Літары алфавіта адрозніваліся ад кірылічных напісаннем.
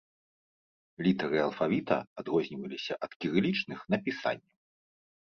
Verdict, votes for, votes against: rejected, 1, 2